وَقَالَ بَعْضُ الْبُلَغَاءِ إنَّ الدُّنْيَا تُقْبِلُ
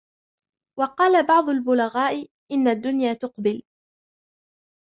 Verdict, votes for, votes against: accepted, 3, 0